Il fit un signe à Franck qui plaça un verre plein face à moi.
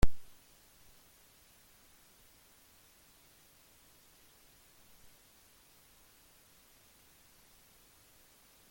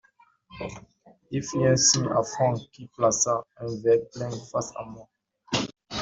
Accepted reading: second